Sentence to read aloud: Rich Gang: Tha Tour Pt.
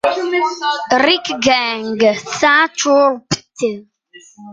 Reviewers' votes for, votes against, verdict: 0, 2, rejected